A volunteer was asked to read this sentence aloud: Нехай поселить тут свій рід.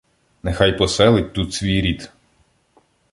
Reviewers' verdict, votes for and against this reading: accepted, 2, 1